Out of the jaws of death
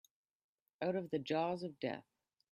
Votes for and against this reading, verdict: 2, 0, accepted